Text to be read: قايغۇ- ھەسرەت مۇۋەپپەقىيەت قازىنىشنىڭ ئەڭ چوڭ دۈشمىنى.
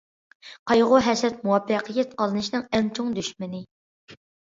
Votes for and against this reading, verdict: 2, 0, accepted